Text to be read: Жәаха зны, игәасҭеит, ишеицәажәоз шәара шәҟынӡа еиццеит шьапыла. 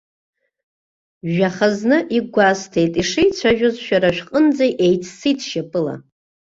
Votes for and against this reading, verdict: 2, 0, accepted